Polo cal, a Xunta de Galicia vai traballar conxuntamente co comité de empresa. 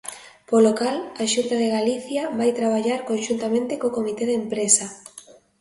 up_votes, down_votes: 2, 0